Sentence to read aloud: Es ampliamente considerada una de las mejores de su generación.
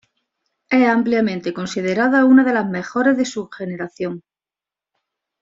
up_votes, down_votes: 2, 0